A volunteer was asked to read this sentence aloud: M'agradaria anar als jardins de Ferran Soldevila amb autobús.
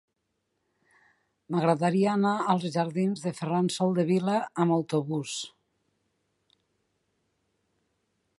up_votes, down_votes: 4, 0